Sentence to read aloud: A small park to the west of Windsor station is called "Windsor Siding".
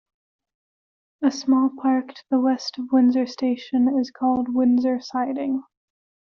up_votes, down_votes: 0, 2